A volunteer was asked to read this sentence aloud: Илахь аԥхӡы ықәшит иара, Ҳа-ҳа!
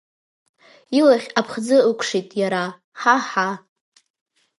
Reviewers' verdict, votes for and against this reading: accepted, 2, 0